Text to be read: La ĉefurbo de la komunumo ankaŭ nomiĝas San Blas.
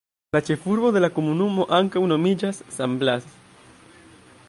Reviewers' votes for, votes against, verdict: 1, 2, rejected